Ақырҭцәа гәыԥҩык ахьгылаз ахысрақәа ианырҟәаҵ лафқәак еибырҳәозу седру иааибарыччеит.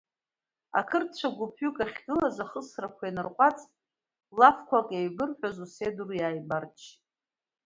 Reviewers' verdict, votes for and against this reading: rejected, 0, 2